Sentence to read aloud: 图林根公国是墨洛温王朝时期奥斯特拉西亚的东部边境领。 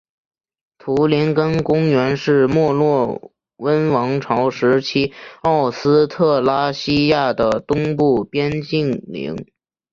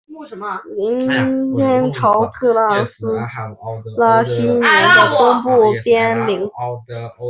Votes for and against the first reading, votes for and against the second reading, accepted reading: 4, 3, 1, 5, first